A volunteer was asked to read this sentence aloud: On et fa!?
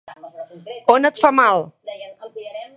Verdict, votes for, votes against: rejected, 0, 2